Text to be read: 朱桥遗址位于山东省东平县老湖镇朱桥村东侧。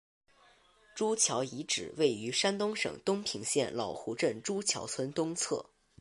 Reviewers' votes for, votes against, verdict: 4, 1, accepted